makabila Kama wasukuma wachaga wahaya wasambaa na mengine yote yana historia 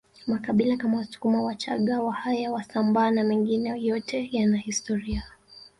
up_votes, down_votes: 0, 2